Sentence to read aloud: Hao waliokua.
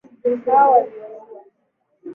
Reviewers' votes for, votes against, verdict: 1, 2, rejected